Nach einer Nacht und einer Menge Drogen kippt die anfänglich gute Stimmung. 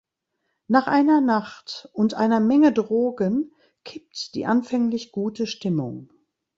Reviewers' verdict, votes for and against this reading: accepted, 2, 0